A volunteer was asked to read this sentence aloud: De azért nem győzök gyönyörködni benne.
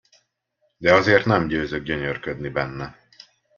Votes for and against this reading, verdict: 2, 0, accepted